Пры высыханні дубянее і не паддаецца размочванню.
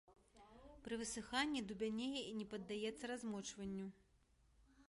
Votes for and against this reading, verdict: 2, 0, accepted